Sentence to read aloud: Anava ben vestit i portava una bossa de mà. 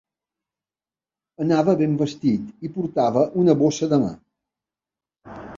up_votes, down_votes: 2, 0